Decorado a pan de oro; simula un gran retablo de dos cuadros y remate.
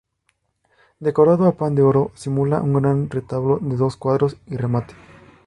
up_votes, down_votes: 4, 0